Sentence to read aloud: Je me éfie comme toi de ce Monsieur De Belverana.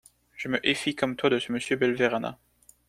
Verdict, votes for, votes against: rejected, 0, 2